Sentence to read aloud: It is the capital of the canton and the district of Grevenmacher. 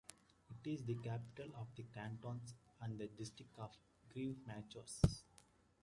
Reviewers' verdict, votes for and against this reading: rejected, 0, 2